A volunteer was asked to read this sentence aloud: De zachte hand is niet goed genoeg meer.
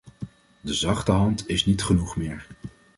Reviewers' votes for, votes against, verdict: 1, 2, rejected